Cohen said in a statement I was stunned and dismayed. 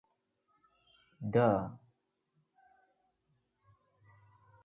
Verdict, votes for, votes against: rejected, 0, 2